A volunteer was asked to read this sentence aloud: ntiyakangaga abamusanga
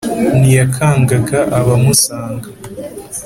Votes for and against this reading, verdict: 2, 0, accepted